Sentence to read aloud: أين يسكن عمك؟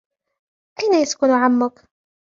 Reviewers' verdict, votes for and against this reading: rejected, 0, 2